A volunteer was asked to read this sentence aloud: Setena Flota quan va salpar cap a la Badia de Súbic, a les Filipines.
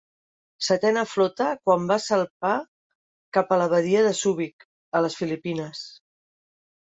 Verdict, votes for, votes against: accepted, 2, 1